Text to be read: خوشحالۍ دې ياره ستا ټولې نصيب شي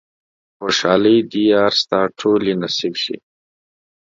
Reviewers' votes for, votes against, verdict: 1, 2, rejected